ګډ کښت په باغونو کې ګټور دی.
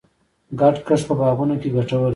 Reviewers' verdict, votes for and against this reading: accepted, 2, 1